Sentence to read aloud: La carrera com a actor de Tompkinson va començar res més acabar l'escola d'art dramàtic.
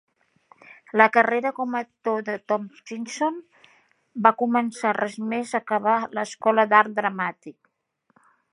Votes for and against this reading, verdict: 2, 0, accepted